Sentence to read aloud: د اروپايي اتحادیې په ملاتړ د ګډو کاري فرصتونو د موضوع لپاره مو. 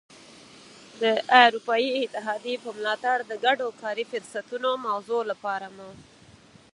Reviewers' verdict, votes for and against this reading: rejected, 0, 4